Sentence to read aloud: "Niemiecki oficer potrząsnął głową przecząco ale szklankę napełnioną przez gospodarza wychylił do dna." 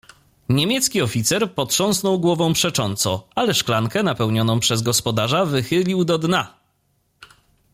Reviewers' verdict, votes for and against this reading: accepted, 2, 0